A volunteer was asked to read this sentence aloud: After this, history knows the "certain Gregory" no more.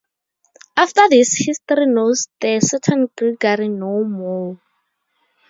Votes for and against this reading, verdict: 4, 0, accepted